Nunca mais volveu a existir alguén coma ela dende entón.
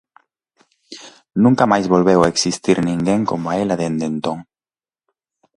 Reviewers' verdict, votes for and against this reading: rejected, 0, 2